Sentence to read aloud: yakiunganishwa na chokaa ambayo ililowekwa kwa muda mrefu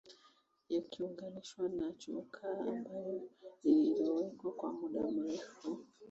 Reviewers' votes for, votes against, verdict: 2, 1, accepted